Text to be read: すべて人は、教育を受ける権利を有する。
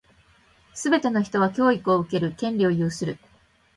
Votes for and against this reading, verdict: 1, 2, rejected